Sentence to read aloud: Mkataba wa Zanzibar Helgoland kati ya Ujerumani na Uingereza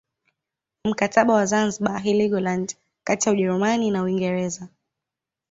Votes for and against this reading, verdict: 2, 0, accepted